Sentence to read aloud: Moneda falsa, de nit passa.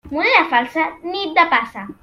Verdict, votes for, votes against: rejected, 0, 2